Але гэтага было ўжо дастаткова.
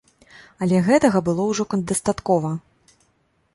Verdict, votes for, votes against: rejected, 0, 2